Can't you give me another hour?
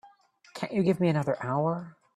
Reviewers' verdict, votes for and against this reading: accepted, 2, 0